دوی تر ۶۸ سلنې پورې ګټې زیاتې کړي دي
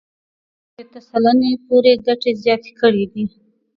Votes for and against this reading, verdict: 0, 2, rejected